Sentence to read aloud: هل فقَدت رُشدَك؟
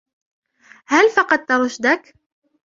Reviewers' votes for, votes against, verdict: 2, 1, accepted